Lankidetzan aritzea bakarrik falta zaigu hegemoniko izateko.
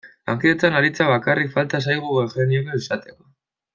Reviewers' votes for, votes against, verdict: 0, 2, rejected